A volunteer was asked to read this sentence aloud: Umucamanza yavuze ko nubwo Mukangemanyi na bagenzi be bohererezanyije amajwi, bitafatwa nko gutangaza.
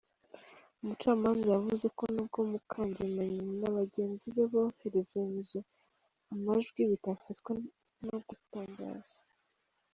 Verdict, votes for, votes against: accepted, 2, 0